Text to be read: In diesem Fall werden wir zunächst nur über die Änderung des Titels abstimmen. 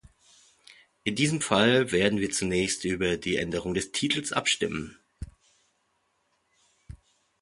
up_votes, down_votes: 1, 2